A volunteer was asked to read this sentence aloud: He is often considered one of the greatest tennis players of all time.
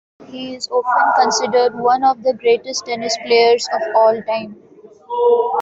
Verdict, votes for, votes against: rejected, 0, 2